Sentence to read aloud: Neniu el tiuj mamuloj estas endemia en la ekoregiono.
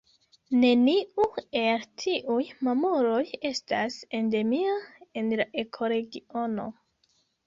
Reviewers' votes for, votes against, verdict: 2, 0, accepted